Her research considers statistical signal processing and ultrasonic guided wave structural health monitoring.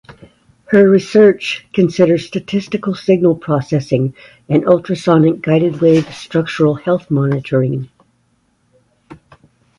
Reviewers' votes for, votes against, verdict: 0, 2, rejected